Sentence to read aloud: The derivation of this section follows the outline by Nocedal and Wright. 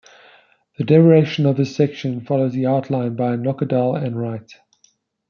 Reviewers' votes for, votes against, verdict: 2, 0, accepted